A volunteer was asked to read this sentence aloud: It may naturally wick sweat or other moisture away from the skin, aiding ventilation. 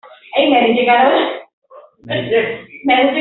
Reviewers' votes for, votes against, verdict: 0, 2, rejected